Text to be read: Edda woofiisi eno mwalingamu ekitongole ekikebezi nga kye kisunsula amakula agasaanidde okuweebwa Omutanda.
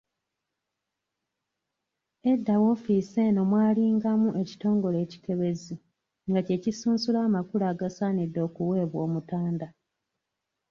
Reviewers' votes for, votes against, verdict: 1, 2, rejected